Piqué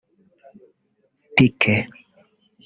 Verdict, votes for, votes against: rejected, 1, 2